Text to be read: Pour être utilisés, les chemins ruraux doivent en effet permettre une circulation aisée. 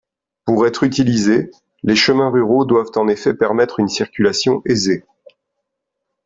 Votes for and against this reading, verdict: 2, 0, accepted